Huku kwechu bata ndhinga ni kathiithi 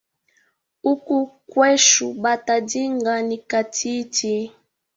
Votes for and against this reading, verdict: 3, 0, accepted